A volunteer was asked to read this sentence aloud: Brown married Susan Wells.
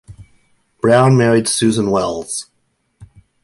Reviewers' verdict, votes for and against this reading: accepted, 2, 0